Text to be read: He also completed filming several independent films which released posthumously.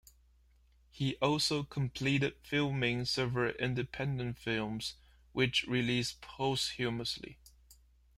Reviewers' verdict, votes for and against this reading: rejected, 1, 2